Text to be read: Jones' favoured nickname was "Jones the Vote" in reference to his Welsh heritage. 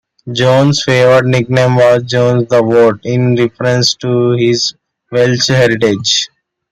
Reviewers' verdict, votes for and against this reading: accepted, 2, 0